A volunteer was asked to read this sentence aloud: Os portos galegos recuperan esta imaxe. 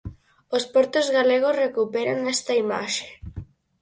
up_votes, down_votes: 4, 0